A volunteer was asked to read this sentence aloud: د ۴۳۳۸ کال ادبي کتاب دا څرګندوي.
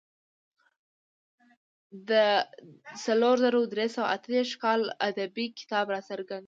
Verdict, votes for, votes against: rejected, 0, 2